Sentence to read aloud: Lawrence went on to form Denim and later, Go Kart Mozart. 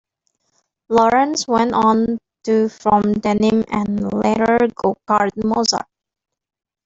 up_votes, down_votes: 1, 2